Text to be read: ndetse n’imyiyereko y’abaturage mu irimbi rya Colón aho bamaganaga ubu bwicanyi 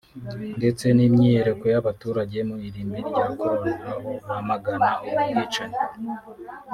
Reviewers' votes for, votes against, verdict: 0, 2, rejected